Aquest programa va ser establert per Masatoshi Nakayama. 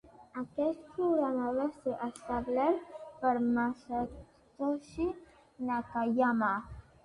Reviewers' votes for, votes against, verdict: 2, 0, accepted